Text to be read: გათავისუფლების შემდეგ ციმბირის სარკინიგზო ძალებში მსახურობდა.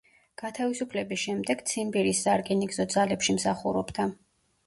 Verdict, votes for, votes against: accepted, 2, 0